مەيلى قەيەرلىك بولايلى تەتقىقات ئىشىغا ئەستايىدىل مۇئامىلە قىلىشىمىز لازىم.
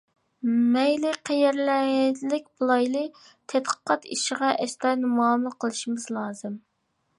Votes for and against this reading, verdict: 1, 2, rejected